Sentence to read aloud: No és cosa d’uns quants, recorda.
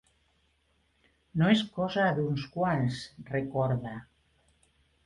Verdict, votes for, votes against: accepted, 2, 0